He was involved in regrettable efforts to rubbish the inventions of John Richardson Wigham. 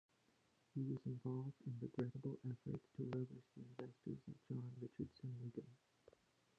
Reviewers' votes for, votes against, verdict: 0, 2, rejected